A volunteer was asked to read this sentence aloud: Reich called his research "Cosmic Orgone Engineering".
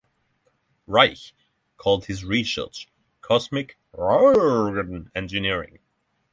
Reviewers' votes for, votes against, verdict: 0, 6, rejected